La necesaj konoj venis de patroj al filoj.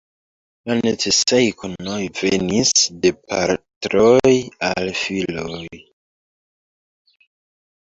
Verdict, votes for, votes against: rejected, 1, 2